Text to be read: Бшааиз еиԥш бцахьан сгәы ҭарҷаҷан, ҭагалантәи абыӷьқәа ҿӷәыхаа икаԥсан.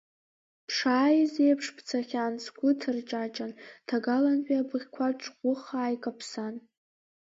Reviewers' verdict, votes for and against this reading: accepted, 2, 1